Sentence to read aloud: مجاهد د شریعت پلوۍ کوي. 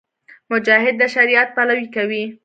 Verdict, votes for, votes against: accepted, 2, 1